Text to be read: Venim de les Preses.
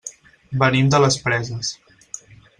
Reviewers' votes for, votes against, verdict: 6, 0, accepted